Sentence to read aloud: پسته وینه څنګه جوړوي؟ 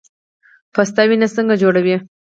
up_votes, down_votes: 4, 2